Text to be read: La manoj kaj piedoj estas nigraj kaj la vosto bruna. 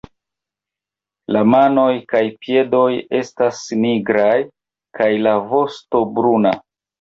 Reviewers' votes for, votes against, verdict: 1, 2, rejected